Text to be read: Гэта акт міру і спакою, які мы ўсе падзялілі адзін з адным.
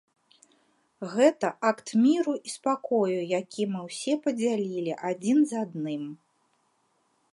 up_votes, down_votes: 3, 0